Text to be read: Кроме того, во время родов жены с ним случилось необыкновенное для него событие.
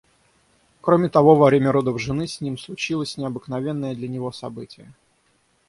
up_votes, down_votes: 6, 0